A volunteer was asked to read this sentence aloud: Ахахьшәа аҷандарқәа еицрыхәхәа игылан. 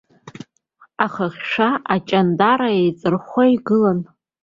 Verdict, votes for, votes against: rejected, 0, 2